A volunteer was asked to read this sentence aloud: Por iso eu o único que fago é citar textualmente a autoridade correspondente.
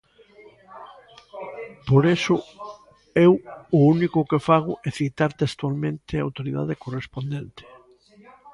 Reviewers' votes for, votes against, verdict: 0, 2, rejected